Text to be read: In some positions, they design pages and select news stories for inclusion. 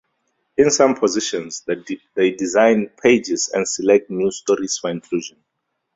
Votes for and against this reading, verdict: 0, 4, rejected